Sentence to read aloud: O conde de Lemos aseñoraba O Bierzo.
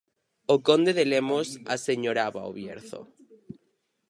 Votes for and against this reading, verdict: 2, 4, rejected